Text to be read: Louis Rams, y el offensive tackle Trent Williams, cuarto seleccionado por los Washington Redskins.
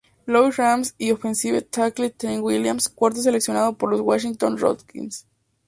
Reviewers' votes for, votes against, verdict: 0, 2, rejected